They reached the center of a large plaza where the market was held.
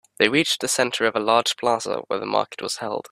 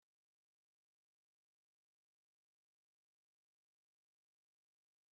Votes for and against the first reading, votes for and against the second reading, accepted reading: 2, 0, 0, 2, first